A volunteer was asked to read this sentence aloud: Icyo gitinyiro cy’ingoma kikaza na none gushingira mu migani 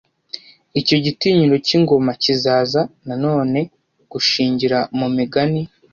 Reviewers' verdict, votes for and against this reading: rejected, 1, 2